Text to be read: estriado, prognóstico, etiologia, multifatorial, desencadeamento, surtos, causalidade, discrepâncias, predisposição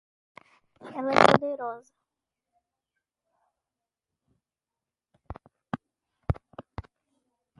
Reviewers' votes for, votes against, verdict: 0, 2, rejected